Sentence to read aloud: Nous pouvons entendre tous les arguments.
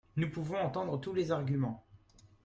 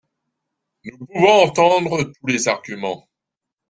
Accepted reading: first